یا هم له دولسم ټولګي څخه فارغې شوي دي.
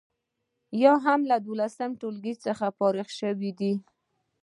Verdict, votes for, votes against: rejected, 0, 2